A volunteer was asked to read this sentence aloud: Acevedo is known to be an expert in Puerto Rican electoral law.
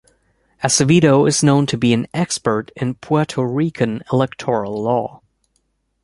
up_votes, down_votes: 3, 0